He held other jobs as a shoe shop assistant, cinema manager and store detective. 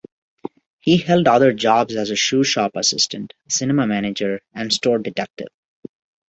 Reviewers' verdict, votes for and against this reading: accepted, 2, 0